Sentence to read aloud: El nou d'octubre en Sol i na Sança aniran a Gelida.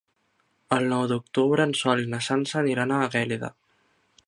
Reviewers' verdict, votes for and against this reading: rejected, 1, 2